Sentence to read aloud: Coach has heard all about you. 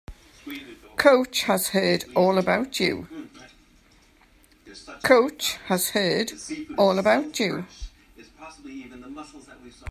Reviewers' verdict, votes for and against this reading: rejected, 0, 2